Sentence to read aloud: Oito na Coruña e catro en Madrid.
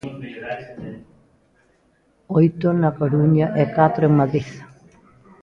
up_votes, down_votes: 0, 2